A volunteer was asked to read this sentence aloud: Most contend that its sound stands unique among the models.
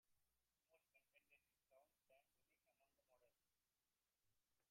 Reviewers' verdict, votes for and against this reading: rejected, 0, 2